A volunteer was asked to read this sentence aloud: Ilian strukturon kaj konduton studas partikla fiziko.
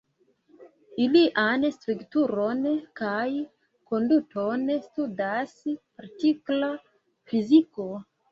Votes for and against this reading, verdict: 2, 0, accepted